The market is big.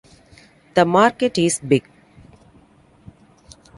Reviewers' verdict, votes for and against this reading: accepted, 2, 0